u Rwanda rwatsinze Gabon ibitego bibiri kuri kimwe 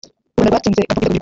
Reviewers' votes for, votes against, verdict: 0, 2, rejected